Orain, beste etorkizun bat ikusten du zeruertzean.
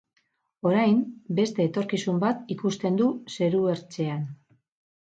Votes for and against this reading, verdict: 4, 0, accepted